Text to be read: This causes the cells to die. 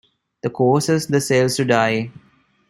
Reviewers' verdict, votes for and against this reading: rejected, 1, 2